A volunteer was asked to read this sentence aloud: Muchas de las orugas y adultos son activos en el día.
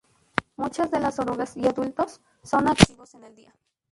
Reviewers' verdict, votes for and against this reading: accepted, 2, 0